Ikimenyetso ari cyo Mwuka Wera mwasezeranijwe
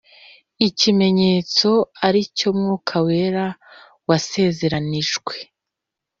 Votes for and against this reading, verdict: 0, 2, rejected